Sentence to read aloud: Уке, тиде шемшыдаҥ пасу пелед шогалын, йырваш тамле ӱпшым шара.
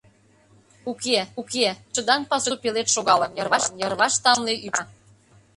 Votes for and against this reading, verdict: 0, 2, rejected